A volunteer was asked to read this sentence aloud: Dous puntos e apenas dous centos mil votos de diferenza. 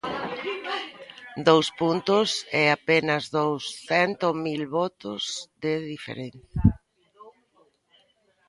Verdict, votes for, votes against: rejected, 0, 2